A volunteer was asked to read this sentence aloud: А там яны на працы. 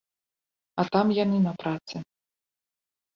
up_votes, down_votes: 2, 0